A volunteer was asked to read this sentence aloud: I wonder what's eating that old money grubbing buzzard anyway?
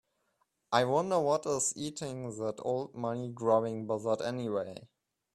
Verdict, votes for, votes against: rejected, 1, 2